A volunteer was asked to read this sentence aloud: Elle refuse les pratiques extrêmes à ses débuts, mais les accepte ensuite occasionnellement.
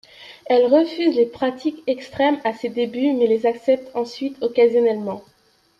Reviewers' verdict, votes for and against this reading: accepted, 2, 0